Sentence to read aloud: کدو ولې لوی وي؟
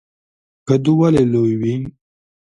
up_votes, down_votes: 2, 0